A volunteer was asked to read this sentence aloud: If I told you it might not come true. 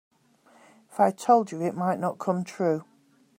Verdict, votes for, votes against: rejected, 1, 2